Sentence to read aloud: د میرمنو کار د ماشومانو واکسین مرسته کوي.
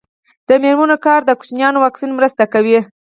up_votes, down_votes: 2, 4